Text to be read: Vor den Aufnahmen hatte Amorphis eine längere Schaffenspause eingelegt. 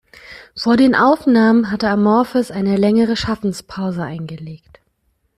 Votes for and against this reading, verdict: 2, 1, accepted